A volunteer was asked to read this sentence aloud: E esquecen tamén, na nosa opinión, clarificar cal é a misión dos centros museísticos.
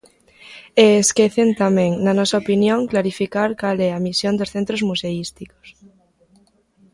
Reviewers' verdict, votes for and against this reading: accepted, 2, 0